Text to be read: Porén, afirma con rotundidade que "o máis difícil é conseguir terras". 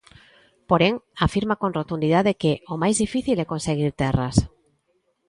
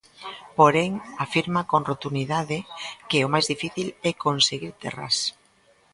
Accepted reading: first